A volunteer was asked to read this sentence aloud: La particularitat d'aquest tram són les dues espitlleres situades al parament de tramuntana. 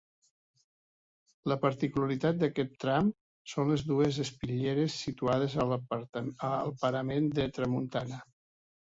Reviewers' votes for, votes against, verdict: 1, 2, rejected